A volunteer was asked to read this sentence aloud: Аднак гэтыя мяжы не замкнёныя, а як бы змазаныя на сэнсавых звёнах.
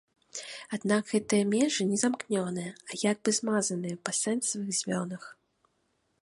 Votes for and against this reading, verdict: 2, 1, accepted